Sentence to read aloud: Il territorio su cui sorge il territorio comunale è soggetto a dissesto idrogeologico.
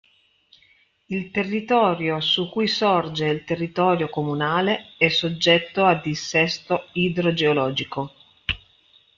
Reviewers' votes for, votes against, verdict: 2, 0, accepted